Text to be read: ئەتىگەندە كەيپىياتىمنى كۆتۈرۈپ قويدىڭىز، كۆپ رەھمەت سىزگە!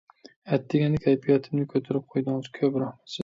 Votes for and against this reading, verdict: 0, 2, rejected